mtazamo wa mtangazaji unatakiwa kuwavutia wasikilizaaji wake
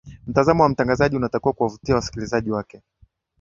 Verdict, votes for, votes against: accepted, 2, 0